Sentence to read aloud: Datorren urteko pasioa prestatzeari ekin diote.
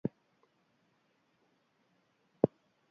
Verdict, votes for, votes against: rejected, 0, 4